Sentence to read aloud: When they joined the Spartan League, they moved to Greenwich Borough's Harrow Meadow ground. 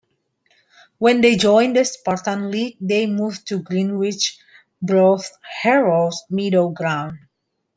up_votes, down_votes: 1, 2